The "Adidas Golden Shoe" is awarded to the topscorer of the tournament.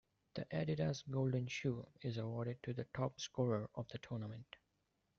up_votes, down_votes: 2, 1